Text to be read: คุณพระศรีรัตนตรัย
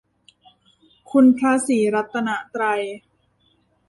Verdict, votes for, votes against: rejected, 1, 2